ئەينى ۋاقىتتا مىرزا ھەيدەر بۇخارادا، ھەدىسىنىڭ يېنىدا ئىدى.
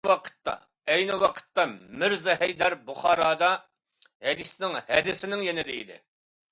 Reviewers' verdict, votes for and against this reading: rejected, 0, 2